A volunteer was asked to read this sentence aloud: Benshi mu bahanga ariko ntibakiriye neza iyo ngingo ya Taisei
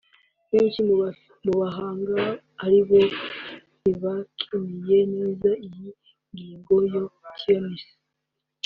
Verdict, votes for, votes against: rejected, 0, 4